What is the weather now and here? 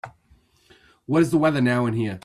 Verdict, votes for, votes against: accepted, 2, 0